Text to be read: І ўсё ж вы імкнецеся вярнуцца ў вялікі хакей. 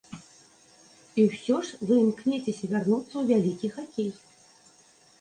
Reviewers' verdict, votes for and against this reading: accepted, 2, 0